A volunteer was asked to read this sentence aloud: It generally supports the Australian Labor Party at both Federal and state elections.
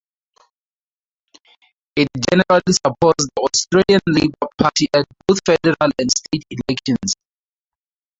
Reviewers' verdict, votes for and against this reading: rejected, 0, 4